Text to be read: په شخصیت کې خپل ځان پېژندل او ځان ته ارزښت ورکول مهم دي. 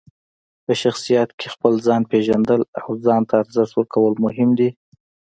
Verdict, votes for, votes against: accepted, 2, 1